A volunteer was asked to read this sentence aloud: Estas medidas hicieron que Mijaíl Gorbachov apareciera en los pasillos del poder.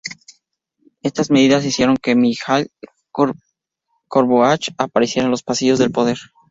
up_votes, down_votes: 0, 4